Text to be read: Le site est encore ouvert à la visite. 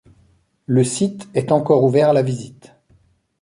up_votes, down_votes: 2, 0